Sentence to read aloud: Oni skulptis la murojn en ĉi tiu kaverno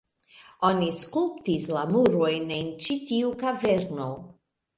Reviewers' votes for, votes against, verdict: 2, 0, accepted